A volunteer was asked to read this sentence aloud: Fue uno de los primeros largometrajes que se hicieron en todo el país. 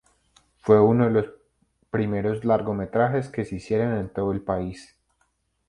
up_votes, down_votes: 0, 2